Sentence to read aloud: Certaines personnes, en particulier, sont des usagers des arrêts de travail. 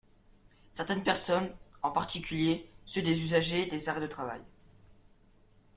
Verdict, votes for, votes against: rejected, 0, 2